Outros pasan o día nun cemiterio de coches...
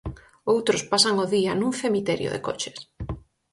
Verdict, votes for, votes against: accepted, 4, 0